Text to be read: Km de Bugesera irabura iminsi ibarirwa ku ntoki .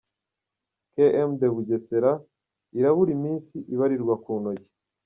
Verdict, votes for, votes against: accepted, 2, 1